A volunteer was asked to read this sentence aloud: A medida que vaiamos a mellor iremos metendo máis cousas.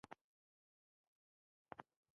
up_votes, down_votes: 0, 2